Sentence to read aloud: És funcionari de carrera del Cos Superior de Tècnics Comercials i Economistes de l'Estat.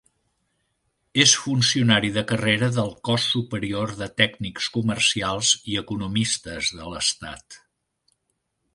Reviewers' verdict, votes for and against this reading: accepted, 3, 0